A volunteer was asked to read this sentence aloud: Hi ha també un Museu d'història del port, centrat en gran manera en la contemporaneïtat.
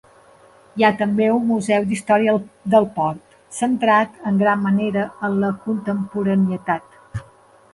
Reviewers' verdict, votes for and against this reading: rejected, 1, 2